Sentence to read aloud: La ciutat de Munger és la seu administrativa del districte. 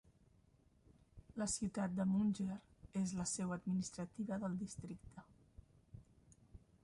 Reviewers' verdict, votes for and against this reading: rejected, 1, 2